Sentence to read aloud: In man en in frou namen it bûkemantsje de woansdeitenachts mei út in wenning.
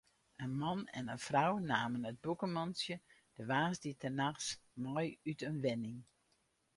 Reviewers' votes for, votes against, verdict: 4, 0, accepted